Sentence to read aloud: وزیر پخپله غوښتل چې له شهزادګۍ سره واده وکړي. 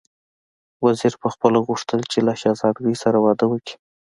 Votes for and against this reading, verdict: 2, 0, accepted